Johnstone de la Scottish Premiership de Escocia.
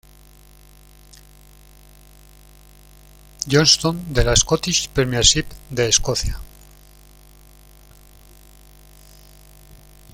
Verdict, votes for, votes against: accepted, 2, 1